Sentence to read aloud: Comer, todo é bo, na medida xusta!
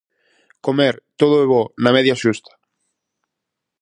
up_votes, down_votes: 0, 4